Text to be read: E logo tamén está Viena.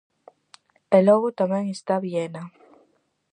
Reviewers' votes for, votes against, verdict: 4, 0, accepted